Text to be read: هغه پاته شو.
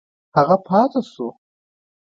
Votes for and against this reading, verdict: 1, 2, rejected